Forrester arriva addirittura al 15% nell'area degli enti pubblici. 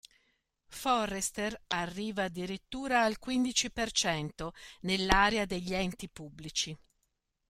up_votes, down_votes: 0, 2